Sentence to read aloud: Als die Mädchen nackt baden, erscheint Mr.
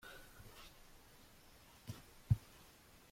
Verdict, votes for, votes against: rejected, 0, 2